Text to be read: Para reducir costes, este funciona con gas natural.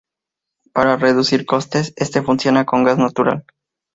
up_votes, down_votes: 2, 0